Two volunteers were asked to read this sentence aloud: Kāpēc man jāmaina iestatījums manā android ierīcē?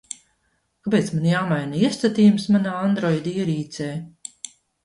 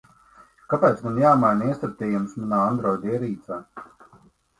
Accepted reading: second